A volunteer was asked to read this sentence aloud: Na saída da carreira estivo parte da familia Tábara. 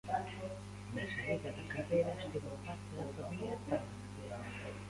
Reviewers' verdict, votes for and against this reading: rejected, 0, 2